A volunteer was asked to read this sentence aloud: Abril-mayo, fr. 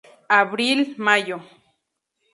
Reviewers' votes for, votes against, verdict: 0, 4, rejected